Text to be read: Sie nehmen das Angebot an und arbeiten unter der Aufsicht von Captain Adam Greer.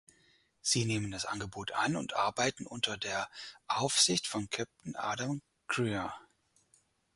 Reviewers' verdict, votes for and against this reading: rejected, 2, 4